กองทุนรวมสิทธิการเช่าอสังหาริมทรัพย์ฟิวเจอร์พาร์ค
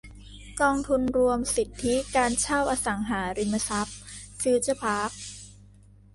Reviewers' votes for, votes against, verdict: 2, 0, accepted